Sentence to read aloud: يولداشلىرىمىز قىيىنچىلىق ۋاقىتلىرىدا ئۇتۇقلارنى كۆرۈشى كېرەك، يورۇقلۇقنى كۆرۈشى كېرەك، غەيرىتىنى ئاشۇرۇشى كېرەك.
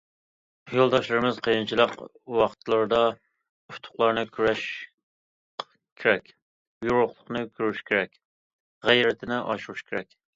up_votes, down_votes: 0, 2